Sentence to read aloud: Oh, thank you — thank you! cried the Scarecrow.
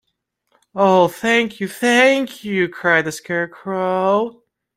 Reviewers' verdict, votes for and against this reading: rejected, 1, 2